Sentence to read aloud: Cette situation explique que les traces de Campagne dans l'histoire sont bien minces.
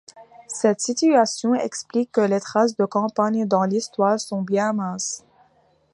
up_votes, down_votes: 2, 0